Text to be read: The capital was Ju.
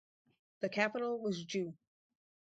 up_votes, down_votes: 2, 2